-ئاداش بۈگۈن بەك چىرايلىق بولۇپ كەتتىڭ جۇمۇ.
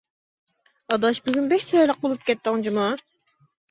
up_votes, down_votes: 2, 0